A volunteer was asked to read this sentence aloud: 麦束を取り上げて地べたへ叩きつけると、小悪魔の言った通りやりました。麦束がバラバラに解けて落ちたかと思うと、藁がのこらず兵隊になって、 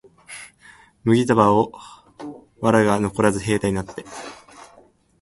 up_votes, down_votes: 1, 7